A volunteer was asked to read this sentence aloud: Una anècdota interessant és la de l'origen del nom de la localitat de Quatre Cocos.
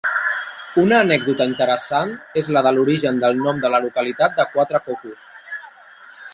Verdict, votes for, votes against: accepted, 2, 0